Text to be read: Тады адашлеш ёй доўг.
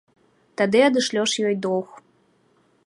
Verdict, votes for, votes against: rejected, 1, 2